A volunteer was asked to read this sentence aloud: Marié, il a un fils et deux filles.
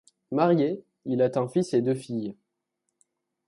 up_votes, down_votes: 0, 2